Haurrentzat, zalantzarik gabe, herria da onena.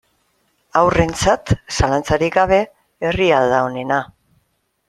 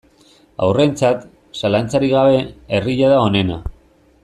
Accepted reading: first